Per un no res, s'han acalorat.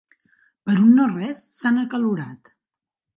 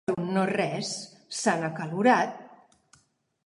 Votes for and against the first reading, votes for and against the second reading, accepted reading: 3, 0, 3, 5, first